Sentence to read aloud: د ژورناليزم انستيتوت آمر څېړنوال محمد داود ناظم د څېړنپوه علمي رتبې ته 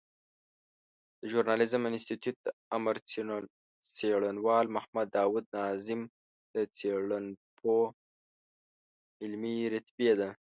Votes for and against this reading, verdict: 1, 2, rejected